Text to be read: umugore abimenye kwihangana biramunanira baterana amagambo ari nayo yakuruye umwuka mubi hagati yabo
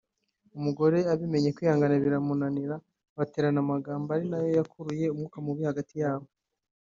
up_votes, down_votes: 3, 0